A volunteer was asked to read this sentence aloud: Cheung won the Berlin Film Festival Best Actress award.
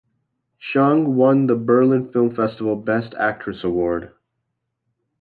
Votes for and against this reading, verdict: 2, 0, accepted